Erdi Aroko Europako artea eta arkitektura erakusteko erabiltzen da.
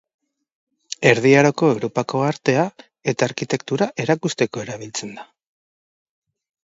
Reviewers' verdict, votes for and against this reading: accepted, 3, 0